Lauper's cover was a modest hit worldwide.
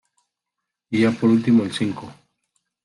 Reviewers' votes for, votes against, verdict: 0, 2, rejected